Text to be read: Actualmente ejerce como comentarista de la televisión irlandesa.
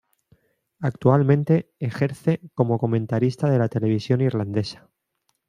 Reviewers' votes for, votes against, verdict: 2, 0, accepted